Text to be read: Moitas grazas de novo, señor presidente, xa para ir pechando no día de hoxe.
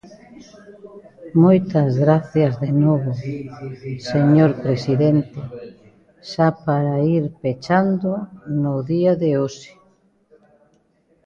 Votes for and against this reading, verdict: 0, 2, rejected